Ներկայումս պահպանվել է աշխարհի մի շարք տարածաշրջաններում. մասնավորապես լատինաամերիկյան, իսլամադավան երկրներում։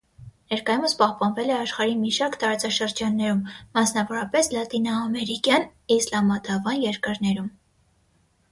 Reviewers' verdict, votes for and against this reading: rejected, 0, 3